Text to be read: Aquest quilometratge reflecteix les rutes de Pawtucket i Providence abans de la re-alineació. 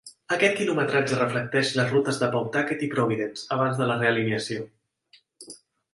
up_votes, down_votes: 2, 0